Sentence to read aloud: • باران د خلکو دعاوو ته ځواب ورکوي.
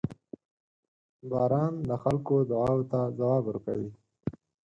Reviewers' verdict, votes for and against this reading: rejected, 0, 4